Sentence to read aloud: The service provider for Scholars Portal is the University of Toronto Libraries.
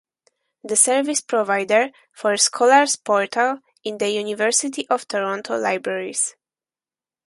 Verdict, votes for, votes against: rejected, 2, 4